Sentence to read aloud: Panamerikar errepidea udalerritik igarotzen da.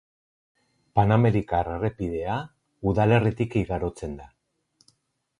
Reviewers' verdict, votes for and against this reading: accepted, 4, 0